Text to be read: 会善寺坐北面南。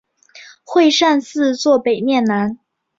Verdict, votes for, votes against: accepted, 2, 0